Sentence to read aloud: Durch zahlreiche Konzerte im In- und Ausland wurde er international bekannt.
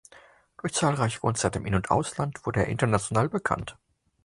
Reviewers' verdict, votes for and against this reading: accepted, 2, 0